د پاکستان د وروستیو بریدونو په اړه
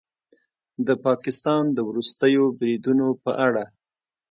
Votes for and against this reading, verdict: 2, 0, accepted